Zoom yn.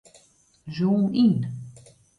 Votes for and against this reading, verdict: 2, 0, accepted